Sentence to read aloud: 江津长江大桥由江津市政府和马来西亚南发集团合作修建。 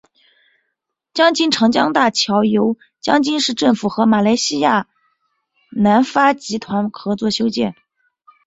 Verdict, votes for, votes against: accepted, 2, 1